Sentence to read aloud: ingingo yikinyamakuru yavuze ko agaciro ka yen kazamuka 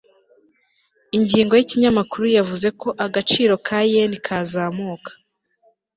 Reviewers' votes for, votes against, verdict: 2, 0, accepted